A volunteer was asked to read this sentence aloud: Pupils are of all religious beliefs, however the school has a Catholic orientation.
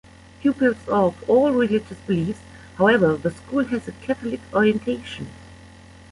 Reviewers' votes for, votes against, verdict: 0, 2, rejected